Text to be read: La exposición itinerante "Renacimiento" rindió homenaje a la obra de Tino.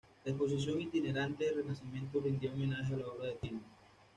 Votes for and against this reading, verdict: 1, 2, rejected